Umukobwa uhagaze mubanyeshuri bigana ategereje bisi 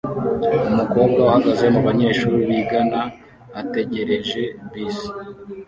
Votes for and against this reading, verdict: 2, 0, accepted